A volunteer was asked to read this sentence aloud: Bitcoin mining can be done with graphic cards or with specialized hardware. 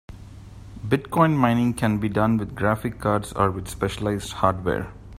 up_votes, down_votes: 2, 0